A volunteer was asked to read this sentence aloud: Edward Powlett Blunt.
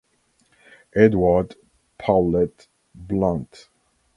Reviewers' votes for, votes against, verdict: 2, 0, accepted